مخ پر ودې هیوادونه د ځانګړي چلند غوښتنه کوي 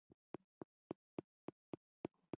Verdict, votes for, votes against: rejected, 1, 2